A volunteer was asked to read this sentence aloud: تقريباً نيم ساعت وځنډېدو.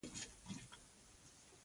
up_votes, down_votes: 0, 2